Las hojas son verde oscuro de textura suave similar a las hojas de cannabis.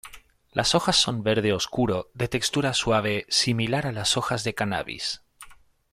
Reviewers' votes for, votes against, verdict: 2, 0, accepted